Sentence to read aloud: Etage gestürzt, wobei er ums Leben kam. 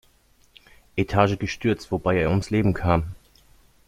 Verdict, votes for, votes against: accepted, 2, 0